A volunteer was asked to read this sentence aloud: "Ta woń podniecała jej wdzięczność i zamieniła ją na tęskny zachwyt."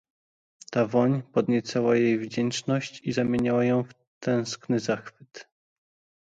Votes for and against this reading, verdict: 0, 2, rejected